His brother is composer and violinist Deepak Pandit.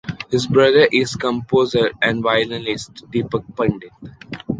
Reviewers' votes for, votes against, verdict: 2, 0, accepted